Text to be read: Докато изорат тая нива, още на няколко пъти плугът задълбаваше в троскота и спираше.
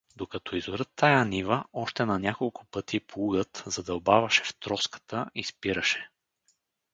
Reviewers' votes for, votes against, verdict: 2, 2, rejected